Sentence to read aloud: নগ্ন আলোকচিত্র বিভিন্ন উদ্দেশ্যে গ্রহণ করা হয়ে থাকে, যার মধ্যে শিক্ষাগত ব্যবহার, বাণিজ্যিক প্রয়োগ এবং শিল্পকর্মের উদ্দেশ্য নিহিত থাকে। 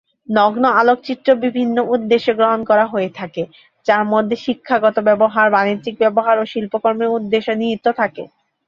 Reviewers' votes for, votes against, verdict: 0, 2, rejected